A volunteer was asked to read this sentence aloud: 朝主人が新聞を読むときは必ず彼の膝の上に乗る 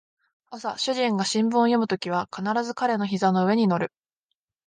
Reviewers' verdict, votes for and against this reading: accepted, 2, 0